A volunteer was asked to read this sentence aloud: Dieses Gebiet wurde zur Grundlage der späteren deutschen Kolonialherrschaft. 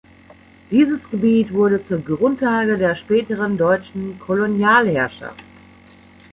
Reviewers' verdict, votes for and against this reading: rejected, 1, 2